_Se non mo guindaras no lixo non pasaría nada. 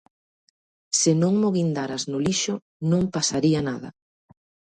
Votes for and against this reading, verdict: 2, 0, accepted